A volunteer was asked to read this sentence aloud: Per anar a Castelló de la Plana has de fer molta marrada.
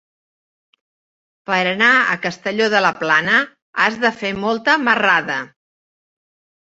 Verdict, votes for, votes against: accepted, 3, 1